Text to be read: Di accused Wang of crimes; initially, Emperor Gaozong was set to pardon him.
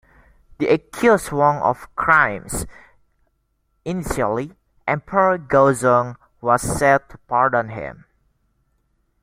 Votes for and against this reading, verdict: 1, 2, rejected